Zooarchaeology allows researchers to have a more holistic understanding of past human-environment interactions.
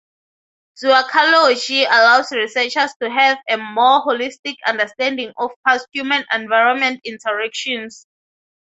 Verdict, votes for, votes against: accepted, 3, 0